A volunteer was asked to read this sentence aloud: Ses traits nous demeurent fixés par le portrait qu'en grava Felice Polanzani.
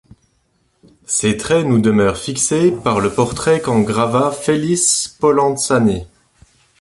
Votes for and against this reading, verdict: 3, 1, accepted